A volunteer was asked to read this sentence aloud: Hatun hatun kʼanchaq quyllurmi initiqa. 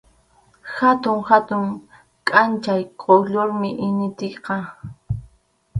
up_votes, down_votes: 0, 2